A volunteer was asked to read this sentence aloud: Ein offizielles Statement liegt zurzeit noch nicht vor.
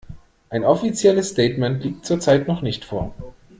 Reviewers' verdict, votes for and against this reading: accepted, 2, 0